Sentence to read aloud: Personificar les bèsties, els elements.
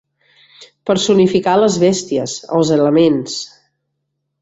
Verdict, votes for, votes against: accepted, 4, 0